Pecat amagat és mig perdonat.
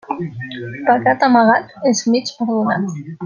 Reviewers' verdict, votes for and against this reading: rejected, 1, 2